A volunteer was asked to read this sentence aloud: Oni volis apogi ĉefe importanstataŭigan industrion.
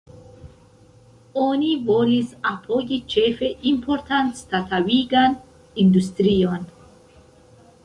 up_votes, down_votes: 1, 3